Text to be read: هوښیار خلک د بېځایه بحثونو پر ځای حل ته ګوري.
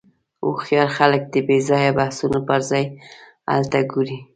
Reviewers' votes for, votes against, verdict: 2, 0, accepted